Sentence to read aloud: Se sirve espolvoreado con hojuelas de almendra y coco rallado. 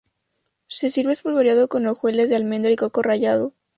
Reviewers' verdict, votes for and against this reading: accepted, 2, 0